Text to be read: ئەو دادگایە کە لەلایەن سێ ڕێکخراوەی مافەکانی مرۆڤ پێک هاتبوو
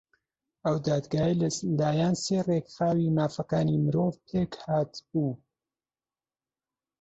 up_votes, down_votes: 2, 3